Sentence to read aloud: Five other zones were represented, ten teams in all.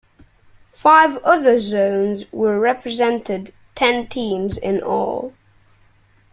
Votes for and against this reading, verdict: 2, 0, accepted